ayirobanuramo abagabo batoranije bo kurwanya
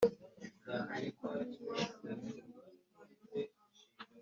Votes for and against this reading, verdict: 1, 3, rejected